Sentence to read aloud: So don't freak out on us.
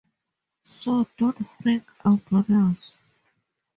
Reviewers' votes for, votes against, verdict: 0, 4, rejected